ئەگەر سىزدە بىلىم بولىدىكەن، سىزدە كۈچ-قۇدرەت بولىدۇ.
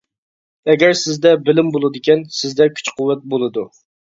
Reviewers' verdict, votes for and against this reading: rejected, 0, 2